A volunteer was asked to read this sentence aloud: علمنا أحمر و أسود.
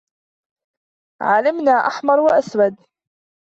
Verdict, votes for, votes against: accepted, 2, 1